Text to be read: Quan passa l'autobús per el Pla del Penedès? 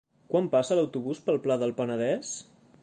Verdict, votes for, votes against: rejected, 0, 2